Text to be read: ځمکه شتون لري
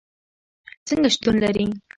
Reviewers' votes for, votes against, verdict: 1, 2, rejected